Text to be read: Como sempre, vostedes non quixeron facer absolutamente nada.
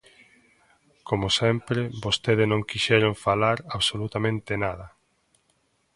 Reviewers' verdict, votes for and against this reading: rejected, 0, 2